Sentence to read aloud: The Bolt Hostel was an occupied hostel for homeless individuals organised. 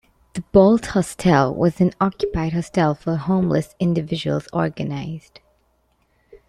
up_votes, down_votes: 0, 2